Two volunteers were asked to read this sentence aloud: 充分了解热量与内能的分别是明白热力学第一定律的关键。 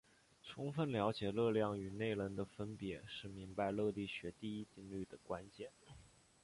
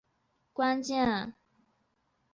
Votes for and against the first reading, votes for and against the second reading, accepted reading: 2, 0, 1, 2, first